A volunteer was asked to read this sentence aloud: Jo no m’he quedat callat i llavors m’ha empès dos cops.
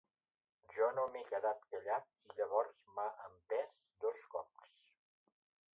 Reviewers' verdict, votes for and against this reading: accepted, 2, 0